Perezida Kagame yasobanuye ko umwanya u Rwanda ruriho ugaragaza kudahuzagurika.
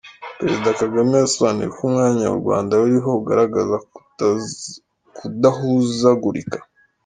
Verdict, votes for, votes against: rejected, 1, 2